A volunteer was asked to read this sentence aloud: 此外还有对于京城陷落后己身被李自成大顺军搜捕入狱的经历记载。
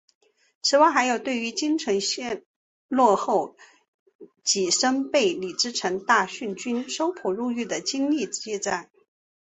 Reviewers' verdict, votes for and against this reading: accepted, 2, 1